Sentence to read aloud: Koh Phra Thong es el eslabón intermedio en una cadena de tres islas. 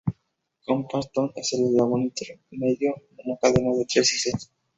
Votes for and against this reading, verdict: 0, 2, rejected